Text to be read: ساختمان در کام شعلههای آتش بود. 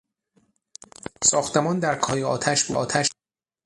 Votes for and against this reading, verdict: 0, 6, rejected